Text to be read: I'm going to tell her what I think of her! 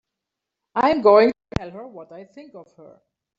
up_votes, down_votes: 2, 0